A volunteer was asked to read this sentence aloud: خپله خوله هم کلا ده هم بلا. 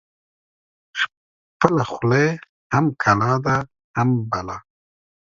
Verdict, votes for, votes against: accepted, 2, 0